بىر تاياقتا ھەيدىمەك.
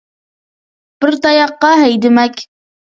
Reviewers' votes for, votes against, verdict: 2, 0, accepted